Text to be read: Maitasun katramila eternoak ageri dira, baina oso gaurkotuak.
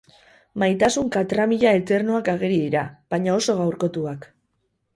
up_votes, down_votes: 2, 2